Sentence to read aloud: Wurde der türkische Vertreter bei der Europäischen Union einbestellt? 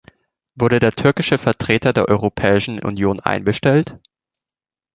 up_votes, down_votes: 0, 2